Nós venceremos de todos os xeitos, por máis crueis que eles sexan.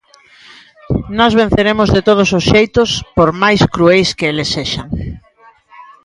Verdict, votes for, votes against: rejected, 1, 2